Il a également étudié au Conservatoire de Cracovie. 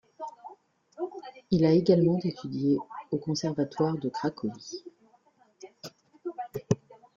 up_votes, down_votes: 1, 2